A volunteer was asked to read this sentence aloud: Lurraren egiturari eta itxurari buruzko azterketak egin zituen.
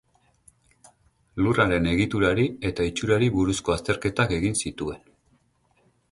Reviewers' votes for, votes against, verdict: 4, 0, accepted